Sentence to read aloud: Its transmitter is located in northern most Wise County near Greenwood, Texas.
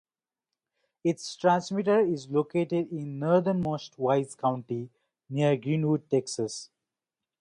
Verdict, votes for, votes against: accepted, 2, 0